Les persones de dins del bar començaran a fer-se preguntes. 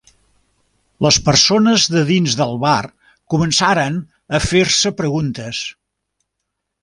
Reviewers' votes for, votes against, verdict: 1, 2, rejected